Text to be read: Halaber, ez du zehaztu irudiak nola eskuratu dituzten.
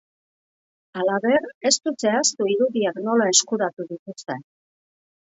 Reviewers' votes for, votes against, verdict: 2, 0, accepted